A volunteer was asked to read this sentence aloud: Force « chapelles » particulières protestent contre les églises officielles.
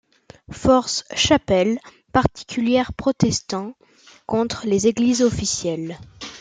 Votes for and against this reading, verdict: 1, 2, rejected